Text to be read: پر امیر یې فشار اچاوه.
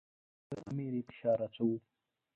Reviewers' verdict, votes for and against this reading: rejected, 0, 2